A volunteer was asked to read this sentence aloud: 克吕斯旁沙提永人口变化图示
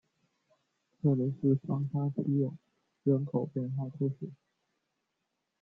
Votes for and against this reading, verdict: 0, 2, rejected